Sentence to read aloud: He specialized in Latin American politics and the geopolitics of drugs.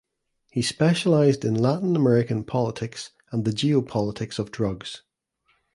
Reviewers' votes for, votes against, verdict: 2, 0, accepted